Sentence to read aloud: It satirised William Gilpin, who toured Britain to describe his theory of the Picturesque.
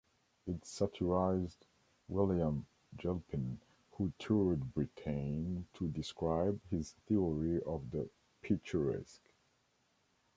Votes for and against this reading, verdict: 1, 2, rejected